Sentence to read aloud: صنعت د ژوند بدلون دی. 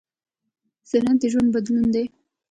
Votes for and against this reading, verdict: 1, 2, rejected